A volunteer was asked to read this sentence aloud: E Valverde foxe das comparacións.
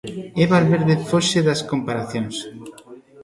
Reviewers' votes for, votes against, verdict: 1, 2, rejected